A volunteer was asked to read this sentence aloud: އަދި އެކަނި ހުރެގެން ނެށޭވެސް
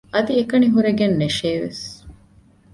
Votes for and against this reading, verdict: 2, 1, accepted